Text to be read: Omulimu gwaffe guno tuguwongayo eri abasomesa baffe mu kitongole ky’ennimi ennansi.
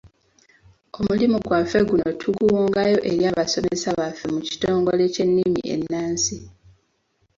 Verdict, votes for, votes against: rejected, 2, 3